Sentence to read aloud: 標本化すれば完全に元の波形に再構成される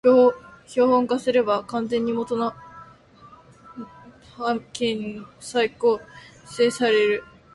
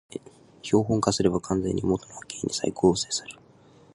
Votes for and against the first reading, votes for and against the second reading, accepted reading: 1, 2, 2, 1, second